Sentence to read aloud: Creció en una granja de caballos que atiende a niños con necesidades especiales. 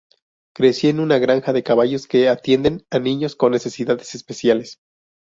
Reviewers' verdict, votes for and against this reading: rejected, 0, 2